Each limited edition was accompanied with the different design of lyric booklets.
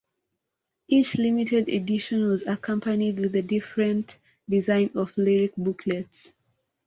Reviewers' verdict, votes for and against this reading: accepted, 2, 0